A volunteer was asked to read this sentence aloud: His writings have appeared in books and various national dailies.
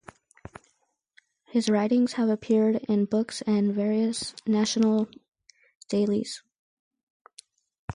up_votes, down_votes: 2, 2